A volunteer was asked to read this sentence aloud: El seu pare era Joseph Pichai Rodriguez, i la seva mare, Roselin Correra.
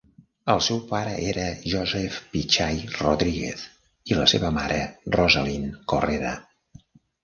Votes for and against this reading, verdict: 0, 2, rejected